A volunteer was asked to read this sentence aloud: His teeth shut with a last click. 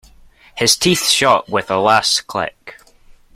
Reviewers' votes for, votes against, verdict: 2, 0, accepted